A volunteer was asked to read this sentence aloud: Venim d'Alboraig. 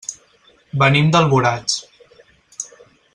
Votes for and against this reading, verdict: 4, 0, accepted